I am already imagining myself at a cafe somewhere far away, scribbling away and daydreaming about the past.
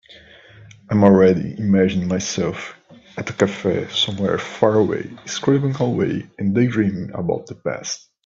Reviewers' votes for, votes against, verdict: 2, 0, accepted